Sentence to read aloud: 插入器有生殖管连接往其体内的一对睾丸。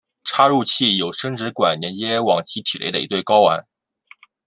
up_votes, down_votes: 2, 1